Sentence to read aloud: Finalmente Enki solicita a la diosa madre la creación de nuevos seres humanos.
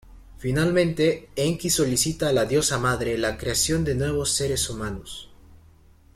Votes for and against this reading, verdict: 2, 0, accepted